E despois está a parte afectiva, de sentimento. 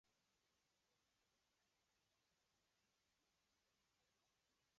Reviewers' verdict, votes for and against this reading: rejected, 0, 2